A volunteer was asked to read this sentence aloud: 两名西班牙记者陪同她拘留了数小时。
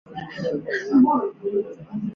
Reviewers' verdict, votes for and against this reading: rejected, 2, 4